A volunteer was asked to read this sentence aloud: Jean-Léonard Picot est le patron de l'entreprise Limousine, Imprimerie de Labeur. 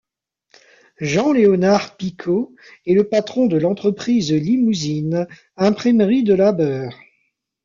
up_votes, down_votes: 1, 2